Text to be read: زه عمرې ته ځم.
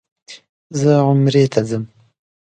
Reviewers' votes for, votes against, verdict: 2, 0, accepted